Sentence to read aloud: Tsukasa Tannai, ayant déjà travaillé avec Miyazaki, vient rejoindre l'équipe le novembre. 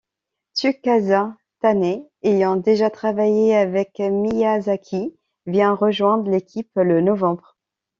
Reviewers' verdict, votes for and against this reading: rejected, 1, 2